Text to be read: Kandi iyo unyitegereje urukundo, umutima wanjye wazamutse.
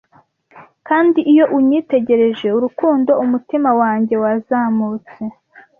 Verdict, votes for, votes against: accepted, 2, 0